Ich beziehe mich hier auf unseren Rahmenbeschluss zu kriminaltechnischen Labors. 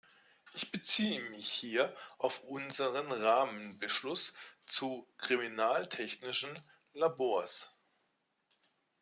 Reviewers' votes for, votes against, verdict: 2, 0, accepted